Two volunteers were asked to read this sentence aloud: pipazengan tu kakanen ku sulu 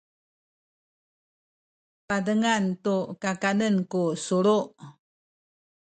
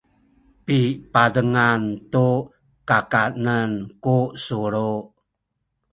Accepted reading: second